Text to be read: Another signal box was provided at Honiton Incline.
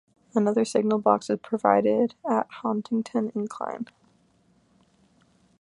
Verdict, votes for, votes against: accepted, 2, 0